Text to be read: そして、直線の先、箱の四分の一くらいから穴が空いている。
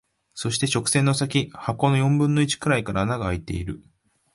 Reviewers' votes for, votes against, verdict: 2, 0, accepted